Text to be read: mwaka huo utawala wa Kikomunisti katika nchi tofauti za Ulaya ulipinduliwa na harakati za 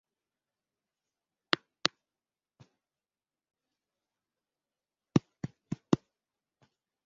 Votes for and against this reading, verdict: 0, 2, rejected